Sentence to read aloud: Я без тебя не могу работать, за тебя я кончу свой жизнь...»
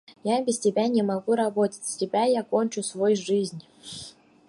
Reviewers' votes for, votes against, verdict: 2, 4, rejected